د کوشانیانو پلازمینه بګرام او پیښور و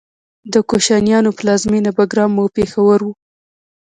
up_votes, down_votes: 1, 2